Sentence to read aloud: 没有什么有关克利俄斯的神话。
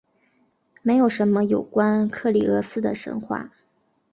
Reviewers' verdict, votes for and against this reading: accepted, 2, 0